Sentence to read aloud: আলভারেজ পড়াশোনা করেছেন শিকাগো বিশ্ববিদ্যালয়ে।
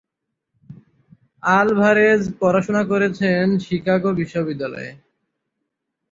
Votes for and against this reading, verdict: 3, 0, accepted